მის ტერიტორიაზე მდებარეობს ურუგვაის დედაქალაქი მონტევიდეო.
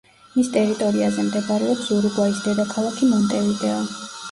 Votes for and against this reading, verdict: 1, 2, rejected